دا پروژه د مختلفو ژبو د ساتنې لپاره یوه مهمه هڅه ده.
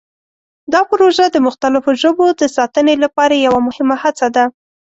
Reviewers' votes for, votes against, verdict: 2, 0, accepted